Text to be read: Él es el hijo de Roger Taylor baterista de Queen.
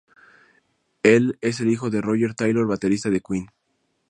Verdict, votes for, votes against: accepted, 4, 0